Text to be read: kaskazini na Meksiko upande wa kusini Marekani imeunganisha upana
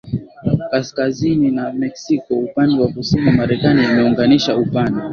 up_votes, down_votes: 2, 0